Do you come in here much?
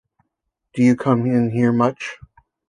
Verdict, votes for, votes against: accepted, 2, 0